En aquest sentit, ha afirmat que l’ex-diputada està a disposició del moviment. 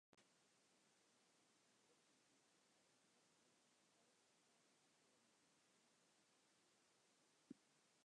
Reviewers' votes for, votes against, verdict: 0, 2, rejected